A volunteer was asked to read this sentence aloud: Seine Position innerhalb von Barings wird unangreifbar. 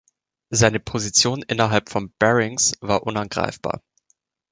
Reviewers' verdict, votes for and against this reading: rejected, 0, 2